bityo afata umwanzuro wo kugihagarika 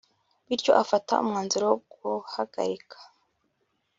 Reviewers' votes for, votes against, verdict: 0, 2, rejected